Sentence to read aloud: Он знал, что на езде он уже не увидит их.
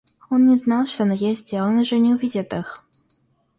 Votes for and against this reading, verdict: 1, 2, rejected